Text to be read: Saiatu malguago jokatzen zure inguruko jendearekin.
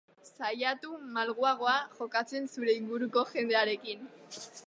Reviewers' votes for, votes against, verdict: 0, 2, rejected